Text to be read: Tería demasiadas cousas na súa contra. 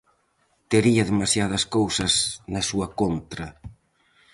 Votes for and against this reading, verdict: 4, 0, accepted